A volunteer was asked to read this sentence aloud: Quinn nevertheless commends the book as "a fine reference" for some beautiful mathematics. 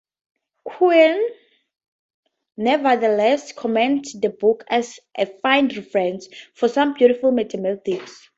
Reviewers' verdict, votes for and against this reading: accepted, 4, 0